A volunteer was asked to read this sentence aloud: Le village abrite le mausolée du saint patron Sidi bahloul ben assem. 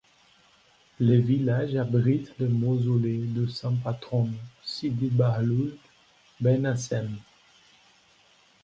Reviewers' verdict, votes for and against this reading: accepted, 2, 1